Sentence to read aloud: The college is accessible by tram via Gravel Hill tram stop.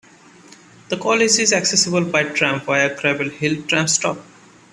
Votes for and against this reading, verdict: 2, 0, accepted